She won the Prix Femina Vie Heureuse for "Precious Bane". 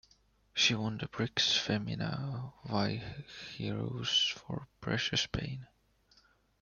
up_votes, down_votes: 1, 2